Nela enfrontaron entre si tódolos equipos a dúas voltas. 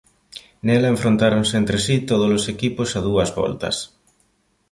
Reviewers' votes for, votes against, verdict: 1, 2, rejected